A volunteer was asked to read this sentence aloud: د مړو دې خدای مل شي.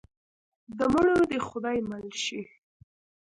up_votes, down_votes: 1, 2